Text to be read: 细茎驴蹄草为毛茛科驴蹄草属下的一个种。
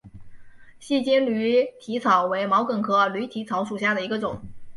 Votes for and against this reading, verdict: 10, 0, accepted